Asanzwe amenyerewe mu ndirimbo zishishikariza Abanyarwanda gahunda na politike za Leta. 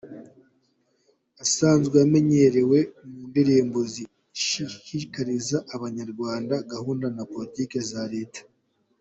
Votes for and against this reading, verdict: 2, 0, accepted